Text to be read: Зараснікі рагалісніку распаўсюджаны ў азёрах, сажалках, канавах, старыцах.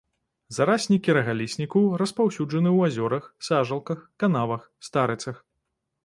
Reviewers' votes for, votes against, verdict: 0, 2, rejected